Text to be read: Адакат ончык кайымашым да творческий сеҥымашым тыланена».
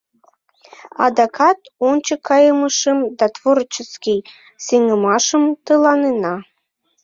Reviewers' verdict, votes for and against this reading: rejected, 1, 2